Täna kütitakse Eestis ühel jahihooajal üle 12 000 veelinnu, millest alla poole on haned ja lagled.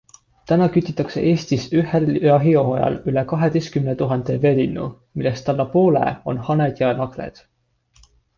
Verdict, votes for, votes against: rejected, 0, 2